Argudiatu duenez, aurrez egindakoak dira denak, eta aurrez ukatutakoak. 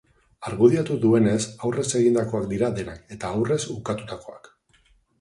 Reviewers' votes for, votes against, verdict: 4, 0, accepted